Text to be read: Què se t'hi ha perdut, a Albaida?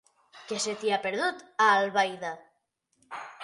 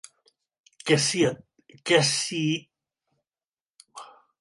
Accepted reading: first